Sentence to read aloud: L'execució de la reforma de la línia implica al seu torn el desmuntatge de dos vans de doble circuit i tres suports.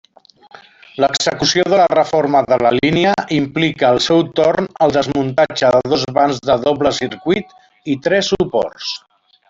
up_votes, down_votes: 2, 0